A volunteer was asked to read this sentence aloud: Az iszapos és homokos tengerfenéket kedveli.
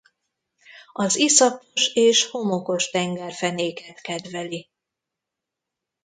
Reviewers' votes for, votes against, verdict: 2, 3, rejected